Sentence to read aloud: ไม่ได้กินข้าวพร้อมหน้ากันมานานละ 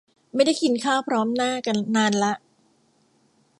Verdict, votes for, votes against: rejected, 0, 2